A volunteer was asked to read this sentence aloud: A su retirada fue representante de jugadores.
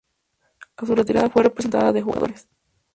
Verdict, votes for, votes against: rejected, 0, 2